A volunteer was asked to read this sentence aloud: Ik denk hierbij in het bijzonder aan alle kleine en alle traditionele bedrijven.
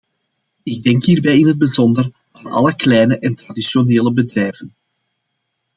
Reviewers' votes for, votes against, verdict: 2, 0, accepted